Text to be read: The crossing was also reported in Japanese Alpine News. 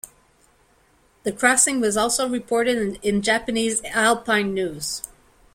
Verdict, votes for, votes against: rejected, 1, 2